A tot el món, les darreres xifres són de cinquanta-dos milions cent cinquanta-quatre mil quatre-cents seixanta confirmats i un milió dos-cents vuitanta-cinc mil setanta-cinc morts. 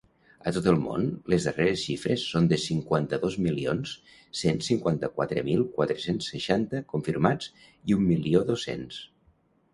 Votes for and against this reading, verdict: 0, 2, rejected